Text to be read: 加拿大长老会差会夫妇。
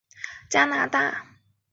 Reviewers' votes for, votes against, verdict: 1, 4, rejected